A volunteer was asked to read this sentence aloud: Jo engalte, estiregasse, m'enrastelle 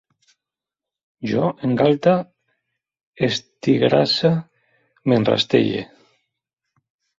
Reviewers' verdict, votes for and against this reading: rejected, 1, 2